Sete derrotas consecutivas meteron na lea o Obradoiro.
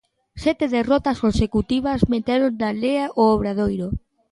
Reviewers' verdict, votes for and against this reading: accepted, 2, 1